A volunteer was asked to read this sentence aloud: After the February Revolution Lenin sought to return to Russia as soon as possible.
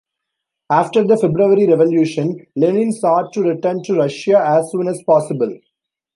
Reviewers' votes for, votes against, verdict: 2, 0, accepted